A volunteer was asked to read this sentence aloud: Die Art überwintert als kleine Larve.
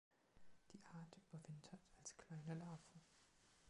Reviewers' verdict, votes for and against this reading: accepted, 2, 0